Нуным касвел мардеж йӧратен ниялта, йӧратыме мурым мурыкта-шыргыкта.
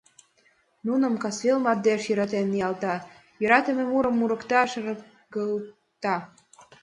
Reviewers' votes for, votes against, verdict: 0, 2, rejected